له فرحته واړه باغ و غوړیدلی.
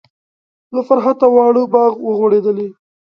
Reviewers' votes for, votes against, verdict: 2, 0, accepted